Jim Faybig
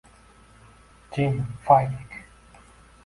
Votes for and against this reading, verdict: 0, 2, rejected